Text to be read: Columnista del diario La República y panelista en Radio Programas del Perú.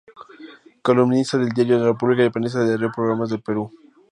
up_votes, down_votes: 2, 0